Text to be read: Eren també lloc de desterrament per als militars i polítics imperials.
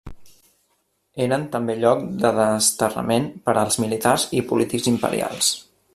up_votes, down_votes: 1, 2